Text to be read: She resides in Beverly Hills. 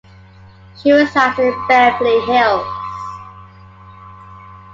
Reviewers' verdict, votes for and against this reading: accepted, 2, 1